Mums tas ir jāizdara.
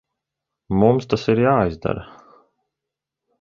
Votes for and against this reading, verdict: 2, 0, accepted